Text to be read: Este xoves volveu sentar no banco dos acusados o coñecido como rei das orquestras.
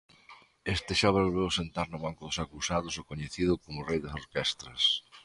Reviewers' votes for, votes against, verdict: 0, 2, rejected